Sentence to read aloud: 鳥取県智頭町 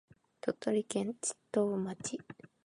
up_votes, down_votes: 3, 1